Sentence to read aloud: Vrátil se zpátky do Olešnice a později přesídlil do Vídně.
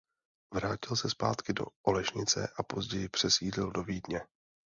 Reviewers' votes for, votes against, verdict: 2, 0, accepted